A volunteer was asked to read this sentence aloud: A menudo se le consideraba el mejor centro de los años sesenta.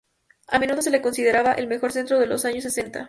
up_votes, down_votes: 0, 4